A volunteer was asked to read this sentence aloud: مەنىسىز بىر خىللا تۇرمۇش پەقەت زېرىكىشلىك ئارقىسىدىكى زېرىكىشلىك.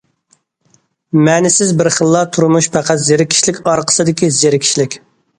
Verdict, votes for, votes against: accepted, 2, 0